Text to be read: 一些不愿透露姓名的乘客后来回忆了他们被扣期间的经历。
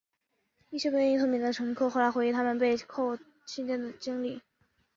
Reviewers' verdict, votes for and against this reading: rejected, 1, 2